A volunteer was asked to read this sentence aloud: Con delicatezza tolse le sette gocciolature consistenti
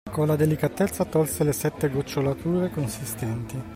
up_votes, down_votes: 1, 2